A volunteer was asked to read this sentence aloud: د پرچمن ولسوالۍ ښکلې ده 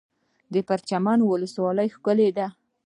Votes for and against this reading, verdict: 0, 2, rejected